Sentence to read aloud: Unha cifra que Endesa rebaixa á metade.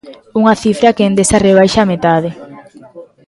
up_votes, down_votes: 0, 2